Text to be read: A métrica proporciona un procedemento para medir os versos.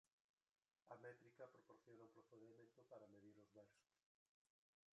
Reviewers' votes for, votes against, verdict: 0, 3, rejected